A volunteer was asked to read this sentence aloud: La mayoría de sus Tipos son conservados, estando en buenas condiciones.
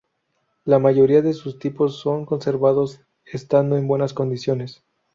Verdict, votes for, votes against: accepted, 2, 0